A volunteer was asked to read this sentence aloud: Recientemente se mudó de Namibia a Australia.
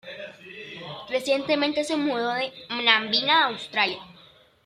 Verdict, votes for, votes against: rejected, 1, 2